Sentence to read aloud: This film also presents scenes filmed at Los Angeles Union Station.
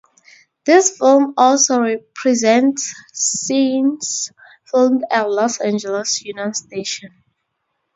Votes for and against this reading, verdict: 0, 2, rejected